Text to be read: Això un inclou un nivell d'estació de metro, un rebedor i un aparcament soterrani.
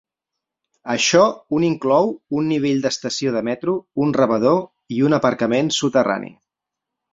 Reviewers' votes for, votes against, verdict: 4, 0, accepted